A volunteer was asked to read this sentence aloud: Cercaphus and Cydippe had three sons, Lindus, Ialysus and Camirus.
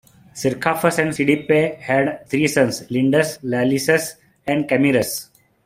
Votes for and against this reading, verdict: 2, 1, accepted